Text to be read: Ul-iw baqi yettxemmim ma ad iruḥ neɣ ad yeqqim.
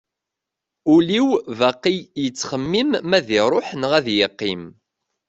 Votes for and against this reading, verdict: 2, 0, accepted